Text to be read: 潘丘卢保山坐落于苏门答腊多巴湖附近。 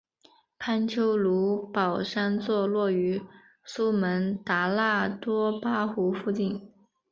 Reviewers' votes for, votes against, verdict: 5, 1, accepted